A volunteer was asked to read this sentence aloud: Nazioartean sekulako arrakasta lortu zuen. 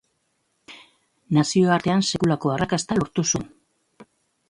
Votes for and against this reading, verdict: 2, 0, accepted